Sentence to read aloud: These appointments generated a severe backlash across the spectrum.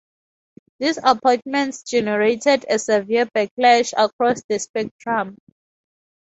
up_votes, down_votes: 2, 0